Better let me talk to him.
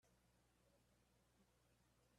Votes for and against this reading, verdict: 0, 2, rejected